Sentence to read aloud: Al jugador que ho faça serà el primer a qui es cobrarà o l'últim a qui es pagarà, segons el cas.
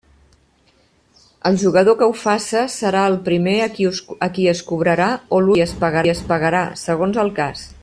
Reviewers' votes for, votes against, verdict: 1, 2, rejected